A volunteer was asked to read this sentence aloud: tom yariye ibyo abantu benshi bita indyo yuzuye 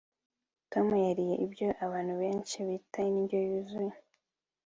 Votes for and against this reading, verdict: 2, 0, accepted